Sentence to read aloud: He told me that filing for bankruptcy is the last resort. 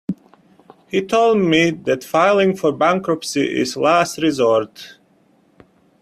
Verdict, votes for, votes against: rejected, 1, 2